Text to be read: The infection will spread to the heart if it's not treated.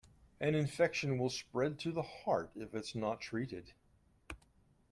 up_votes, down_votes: 0, 2